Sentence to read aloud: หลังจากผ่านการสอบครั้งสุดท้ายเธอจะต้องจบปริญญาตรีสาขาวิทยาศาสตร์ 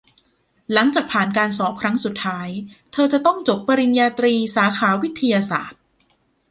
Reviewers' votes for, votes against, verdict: 2, 0, accepted